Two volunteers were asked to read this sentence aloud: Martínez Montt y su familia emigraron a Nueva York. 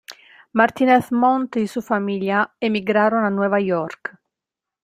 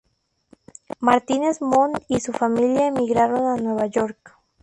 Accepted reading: second